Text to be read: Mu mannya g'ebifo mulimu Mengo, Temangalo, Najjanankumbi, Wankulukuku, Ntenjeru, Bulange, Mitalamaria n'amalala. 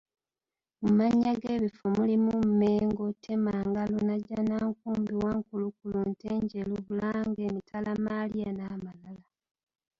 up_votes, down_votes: 0, 2